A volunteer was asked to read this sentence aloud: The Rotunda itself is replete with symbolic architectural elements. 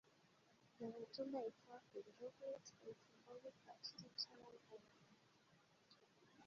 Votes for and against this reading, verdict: 0, 2, rejected